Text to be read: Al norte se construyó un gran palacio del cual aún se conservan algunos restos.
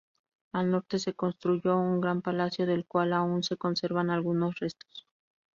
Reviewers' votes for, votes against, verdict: 0, 2, rejected